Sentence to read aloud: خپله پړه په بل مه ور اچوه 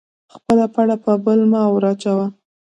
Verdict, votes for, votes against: accepted, 2, 0